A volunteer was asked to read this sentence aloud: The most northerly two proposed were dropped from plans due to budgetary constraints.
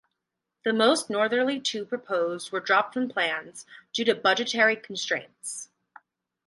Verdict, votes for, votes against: accepted, 2, 0